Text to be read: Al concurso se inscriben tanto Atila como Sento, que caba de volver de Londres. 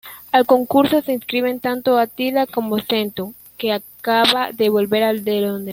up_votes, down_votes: 0, 2